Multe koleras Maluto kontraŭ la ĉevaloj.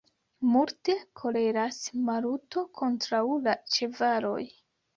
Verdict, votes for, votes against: rejected, 1, 2